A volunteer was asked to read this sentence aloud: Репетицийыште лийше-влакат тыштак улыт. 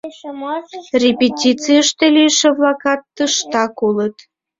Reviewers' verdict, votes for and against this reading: rejected, 1, 4